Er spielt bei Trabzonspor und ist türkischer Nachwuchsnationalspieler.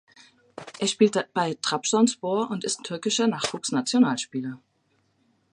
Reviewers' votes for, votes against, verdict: 1, 2, rejected